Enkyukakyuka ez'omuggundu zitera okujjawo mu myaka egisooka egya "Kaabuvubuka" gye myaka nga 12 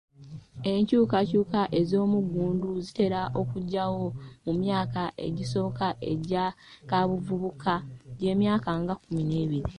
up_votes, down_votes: 0, 2